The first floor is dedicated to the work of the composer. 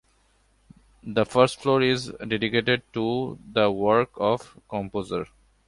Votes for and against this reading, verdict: 2, 1, accepted